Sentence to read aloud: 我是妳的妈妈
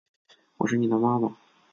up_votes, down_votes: 3, 0